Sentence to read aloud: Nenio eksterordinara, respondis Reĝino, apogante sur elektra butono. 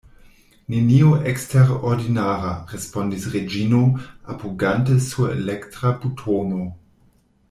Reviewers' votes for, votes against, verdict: 2, 0, accepted